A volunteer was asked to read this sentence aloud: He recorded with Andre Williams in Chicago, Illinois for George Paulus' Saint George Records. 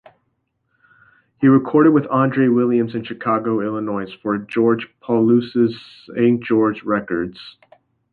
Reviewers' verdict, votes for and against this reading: rejected, 0, 2